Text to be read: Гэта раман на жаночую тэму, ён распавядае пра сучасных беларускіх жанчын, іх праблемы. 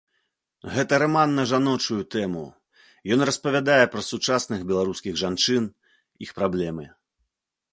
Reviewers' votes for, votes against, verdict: 2, 0, accepted